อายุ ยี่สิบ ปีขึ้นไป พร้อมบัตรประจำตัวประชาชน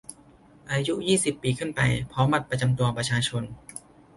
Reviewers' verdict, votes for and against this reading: accepted, 2, 0